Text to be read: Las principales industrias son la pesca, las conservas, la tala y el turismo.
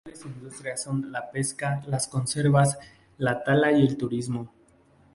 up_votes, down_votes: 0, 2